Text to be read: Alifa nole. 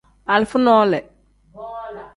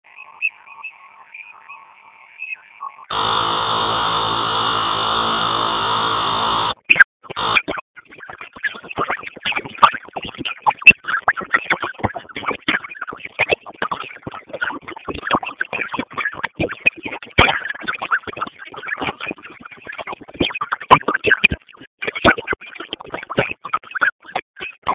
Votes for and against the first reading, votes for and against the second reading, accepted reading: 2, 0, 0, 2, first